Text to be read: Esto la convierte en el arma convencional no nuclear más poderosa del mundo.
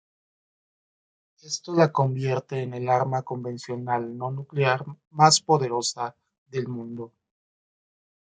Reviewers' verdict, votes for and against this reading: accepted, 2, 0